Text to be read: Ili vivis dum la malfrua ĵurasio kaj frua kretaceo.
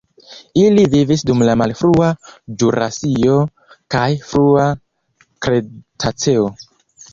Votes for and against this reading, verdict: 1, 2, rejected